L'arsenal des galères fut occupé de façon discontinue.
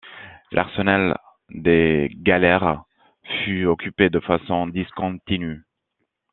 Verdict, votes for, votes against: accepted, 2, 0